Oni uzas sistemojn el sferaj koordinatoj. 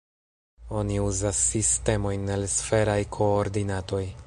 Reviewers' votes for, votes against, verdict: 1, 2, rejected